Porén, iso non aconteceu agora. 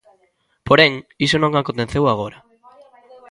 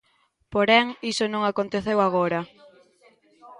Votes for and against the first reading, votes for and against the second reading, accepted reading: 2, 1, 1, 2, first